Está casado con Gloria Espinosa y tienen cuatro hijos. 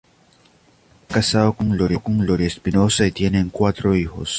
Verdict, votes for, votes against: rejected, 0, 2